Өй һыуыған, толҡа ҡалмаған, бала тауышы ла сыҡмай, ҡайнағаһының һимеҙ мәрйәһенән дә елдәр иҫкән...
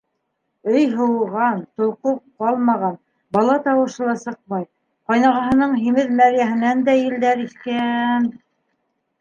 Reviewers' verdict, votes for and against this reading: rejected, 1, 3